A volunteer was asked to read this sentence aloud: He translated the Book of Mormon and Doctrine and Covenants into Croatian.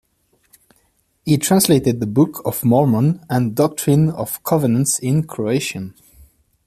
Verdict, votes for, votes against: rejected, 0, 2